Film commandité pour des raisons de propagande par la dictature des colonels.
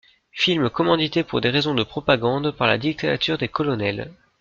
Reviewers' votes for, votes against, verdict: 1, 2, rejected